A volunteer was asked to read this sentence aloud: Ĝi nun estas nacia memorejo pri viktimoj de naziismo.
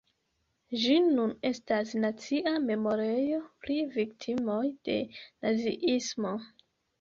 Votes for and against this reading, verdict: 2, 0, accepted